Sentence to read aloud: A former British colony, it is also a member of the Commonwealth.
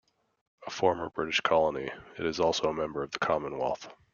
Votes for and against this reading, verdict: 2, 0, accepted